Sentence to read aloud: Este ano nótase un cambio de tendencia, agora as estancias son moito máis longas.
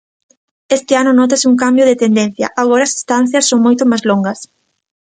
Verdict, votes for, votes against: accepted, 2, 0